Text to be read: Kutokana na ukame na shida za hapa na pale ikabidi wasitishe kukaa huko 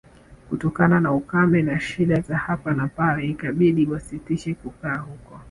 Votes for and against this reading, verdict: 0, 2, rejected